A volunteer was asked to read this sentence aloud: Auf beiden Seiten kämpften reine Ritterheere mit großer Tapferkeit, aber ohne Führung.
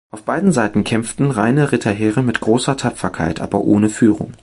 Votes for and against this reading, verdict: 2, 0, accepted